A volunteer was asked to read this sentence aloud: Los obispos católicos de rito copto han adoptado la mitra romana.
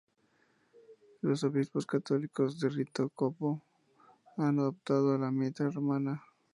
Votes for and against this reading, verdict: 0, 2, rejected